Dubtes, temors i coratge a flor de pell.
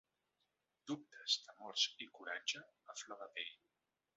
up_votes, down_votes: 4, 1